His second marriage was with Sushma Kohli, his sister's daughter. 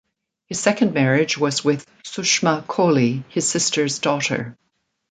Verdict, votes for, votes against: accepted, 2, 0